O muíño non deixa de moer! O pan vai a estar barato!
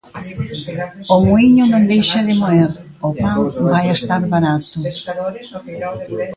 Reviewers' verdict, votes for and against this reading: rejected, 0, 2